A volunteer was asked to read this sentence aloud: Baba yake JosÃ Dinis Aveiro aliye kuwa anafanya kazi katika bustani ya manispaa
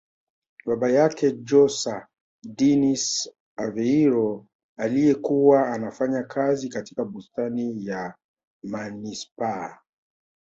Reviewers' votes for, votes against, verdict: 2, 1, accepted